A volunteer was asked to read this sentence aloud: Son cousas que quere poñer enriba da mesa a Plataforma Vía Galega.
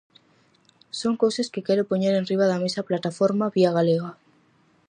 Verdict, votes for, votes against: accepted, 4, 0